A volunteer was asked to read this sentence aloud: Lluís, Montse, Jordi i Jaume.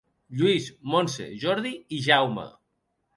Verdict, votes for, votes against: accepted, 4, 0